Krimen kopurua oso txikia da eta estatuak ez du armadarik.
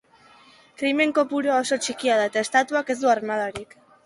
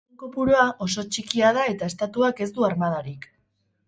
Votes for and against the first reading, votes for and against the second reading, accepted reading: 2, 0, 0, 2, first